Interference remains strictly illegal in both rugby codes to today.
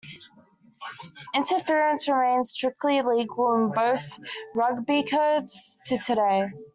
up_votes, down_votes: 2, 1